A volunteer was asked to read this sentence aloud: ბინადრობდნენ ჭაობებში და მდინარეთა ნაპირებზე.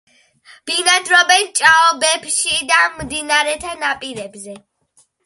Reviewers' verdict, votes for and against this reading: accepted, 2, 0